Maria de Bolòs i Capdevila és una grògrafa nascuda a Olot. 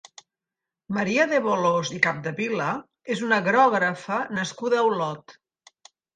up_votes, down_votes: 2, 0